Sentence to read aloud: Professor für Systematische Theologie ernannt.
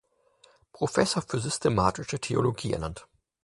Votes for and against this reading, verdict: 4, 0, accepted